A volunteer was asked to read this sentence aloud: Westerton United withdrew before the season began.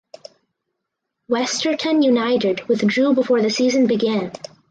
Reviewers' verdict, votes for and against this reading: accepted, 4, 0